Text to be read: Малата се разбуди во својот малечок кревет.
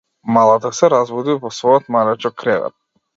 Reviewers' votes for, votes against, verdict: 2, 0, accepted